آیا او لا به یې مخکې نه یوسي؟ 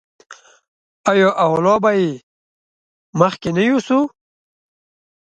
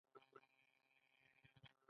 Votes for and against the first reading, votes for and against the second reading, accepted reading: 2, 0, 0, 2, first